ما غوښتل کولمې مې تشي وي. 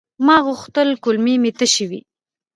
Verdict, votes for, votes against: rejected, 1, 2